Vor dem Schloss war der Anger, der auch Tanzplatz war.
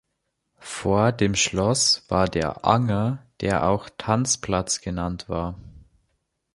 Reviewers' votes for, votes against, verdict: 1, 2, rejected